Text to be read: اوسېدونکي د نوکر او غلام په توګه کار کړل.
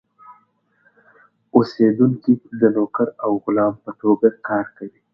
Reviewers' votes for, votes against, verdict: 2, 0, accepted